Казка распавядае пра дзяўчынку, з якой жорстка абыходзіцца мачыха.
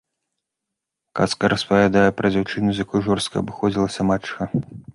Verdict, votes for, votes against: rejected, 0, 3